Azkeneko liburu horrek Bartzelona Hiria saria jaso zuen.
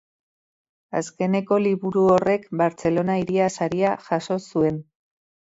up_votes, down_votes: 2, 0